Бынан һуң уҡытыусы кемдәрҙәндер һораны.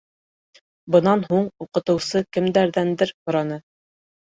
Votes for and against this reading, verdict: 2, 0, accepted